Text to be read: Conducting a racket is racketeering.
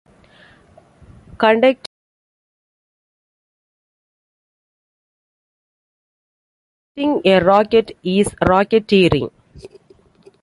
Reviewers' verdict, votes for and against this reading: rejected, 0, 2